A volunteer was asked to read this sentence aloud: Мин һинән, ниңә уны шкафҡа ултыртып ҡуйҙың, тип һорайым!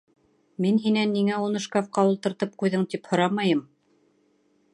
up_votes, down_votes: 1, 2